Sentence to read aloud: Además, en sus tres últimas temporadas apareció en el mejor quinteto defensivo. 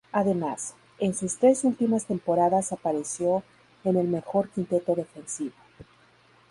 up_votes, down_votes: 2, 2